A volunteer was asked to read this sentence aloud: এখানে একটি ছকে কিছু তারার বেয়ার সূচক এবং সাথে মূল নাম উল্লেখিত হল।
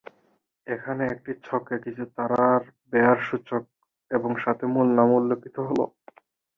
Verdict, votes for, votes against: rejected, 4, 4